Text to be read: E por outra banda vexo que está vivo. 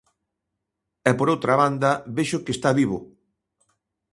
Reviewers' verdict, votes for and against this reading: accepted, 2, 0